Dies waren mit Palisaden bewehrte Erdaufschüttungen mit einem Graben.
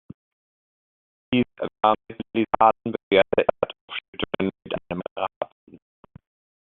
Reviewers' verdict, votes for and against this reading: rejected, 0, 2